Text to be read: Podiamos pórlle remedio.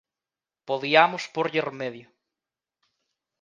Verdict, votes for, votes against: accepted, 2, 0